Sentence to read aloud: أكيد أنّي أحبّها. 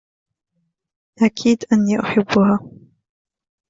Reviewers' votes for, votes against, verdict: 0, 2, rejected